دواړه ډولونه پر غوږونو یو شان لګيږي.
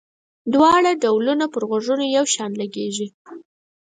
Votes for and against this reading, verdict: 4, 0, accepted